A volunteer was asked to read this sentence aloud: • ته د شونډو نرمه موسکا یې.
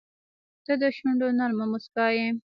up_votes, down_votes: 1, 2